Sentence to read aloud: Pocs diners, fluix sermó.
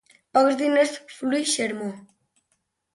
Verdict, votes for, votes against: accepted, 2, 0